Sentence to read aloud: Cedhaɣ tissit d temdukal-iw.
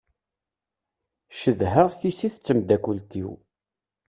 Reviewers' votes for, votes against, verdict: 1, 2, rejected